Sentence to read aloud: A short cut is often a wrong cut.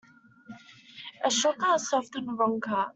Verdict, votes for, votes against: rejected, 0, 2